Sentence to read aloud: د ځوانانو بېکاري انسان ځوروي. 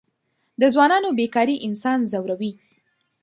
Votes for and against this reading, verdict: 2, 0, accepted